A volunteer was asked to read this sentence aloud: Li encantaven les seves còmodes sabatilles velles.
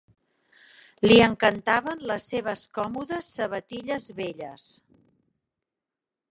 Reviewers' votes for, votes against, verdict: 1, 2, rejected